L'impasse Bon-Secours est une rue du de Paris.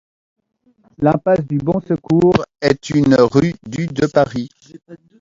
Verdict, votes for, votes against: rejected, 1, 2